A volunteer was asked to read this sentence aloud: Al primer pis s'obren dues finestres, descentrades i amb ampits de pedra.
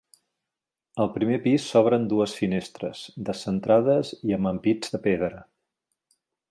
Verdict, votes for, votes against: accepted, 3, 0